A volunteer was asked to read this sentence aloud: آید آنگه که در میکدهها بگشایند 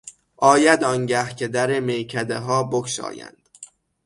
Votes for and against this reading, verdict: 6, 0, accepted